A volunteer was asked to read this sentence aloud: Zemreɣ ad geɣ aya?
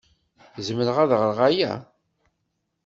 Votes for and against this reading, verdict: 1, 2, rejected